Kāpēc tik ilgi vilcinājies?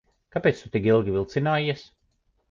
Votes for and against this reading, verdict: 0, 2, rejected